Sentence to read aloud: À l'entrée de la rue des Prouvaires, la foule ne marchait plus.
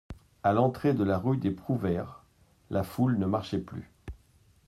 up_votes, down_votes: 2, 0